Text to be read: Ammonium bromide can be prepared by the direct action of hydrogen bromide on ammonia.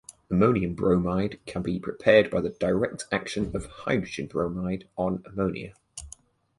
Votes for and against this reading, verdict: 2, 0, accepted